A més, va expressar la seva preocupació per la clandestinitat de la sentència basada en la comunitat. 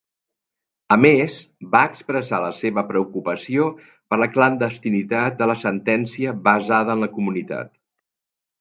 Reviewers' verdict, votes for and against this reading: accepted, 4, 0